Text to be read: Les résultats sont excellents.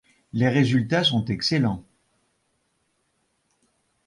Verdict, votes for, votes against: accepted, 2, 0